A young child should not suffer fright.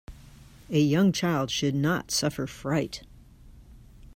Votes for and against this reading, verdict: 2, 0, accepted